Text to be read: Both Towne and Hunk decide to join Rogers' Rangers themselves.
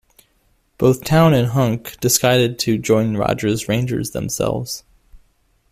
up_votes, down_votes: 1, 2